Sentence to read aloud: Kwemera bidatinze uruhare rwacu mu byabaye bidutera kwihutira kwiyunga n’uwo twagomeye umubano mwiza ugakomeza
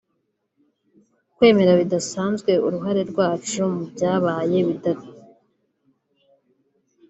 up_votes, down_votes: 0, 2